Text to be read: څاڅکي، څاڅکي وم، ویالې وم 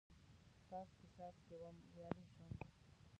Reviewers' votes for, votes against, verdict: 0, 2, rejected